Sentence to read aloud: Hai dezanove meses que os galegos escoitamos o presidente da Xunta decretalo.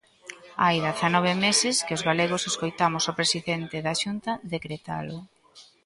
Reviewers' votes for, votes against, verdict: 1, 2, rejected